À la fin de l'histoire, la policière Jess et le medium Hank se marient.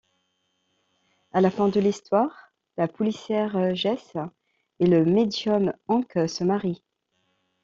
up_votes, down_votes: 2, 0